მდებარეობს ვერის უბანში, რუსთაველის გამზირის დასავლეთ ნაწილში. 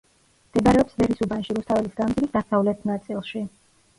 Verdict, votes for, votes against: rejected, 1, 2